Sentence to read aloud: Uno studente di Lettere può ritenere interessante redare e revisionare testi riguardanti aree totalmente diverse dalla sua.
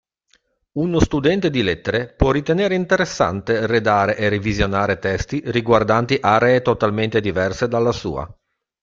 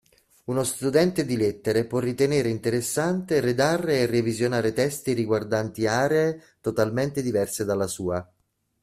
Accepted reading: first